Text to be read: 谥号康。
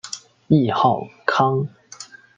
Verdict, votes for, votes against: accepted, 2, 1